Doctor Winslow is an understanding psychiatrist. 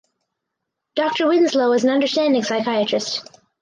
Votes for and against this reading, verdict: 4, 0, accepted